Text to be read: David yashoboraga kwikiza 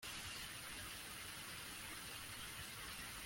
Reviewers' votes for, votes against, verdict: 1, 2, rejected